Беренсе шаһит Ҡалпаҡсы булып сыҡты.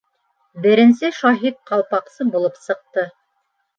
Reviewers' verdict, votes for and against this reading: accepted, 2, 0